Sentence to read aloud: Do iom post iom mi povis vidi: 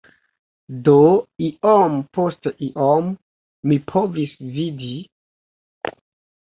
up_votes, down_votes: 0, 2